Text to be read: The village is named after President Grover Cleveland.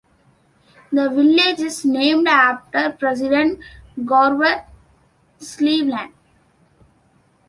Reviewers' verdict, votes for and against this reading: rejected, 1, 2